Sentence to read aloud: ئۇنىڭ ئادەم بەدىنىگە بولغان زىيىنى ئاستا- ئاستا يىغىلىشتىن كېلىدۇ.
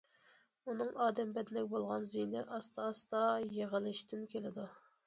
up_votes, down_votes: 2, 0